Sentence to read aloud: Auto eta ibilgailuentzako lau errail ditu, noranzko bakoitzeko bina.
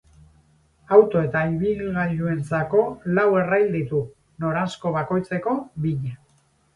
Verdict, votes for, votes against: rejected, 0, 2